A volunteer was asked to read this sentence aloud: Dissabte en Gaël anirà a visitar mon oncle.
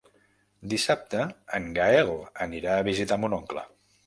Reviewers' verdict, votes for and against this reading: accepted, 3, 0